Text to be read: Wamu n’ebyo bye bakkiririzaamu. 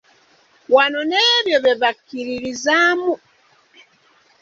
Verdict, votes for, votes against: rejected, 0, 2